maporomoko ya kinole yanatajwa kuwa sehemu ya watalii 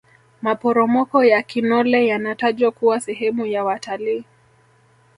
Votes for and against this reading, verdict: 2, 0, accepted